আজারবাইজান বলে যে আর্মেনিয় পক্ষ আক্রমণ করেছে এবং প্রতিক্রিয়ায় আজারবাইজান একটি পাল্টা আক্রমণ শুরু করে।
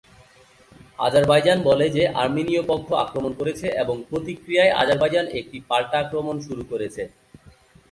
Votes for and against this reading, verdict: 0, 2, rejected